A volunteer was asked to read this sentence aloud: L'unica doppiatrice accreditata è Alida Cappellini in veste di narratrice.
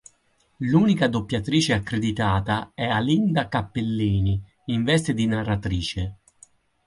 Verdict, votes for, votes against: rejected, 2, 4